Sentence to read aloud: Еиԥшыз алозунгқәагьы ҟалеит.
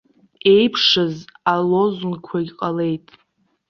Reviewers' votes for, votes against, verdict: 1, 2, rejected